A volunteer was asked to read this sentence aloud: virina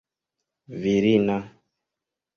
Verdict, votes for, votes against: accepted, 2, 0